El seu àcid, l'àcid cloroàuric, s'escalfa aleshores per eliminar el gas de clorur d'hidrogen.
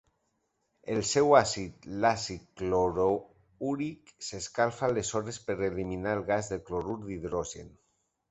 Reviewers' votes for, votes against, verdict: 0, 2, rejected